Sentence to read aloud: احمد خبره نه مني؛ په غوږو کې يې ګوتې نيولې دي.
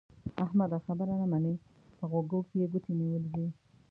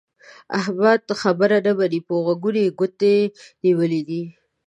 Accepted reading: second